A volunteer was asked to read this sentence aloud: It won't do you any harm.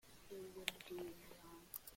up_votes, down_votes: 0, 2